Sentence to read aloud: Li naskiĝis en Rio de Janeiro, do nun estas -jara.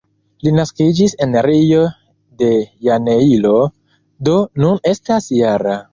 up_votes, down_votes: 0, 2